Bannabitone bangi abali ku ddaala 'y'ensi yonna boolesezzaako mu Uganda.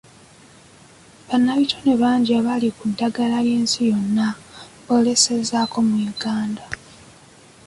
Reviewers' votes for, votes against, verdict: 2, 1, accepted